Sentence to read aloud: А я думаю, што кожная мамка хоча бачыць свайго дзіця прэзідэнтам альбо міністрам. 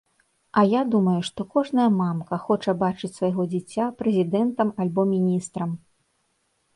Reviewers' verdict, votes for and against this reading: accepted, 2, 0